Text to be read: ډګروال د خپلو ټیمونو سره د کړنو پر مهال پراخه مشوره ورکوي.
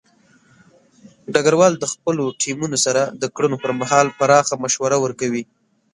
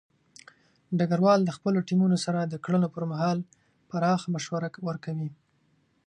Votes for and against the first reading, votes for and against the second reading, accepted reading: 1, 2, 2, 0, second